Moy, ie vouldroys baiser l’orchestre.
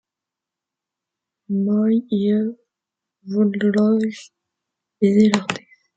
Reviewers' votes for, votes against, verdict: 0, 2, rejected